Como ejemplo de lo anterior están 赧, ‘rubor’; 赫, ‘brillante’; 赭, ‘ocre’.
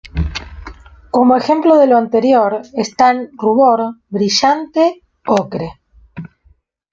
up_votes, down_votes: 0, 2